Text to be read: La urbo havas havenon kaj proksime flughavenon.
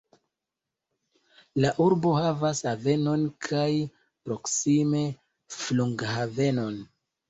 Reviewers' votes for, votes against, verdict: 0, 2, rejected